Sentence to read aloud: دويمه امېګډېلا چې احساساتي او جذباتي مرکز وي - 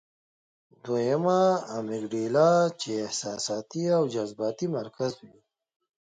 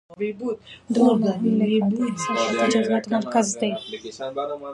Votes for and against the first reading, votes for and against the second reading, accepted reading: 3, 1, 0, 2, first